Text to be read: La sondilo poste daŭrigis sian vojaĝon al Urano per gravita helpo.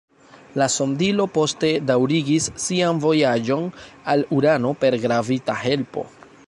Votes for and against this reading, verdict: 2, 0, accepted